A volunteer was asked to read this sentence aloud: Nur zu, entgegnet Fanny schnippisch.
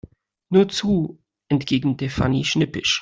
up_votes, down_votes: 1, 2